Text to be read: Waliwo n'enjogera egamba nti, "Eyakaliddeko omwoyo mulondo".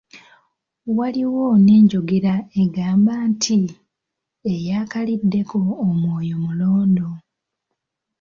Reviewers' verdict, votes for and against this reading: accepted, 2, 0